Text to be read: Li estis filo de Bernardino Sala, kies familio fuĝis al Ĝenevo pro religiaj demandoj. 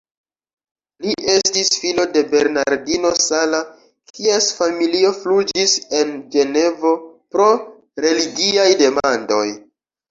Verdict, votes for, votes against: rejected, 1, 2